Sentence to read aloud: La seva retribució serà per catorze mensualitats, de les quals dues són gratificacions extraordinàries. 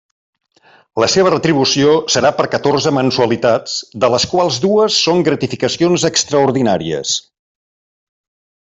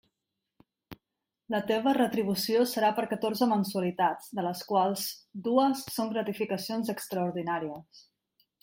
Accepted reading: first